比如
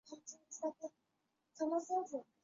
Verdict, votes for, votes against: rejected, 1, 2